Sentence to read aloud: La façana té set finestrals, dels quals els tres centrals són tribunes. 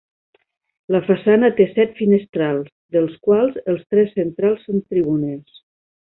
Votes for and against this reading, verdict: 2, 1, accepted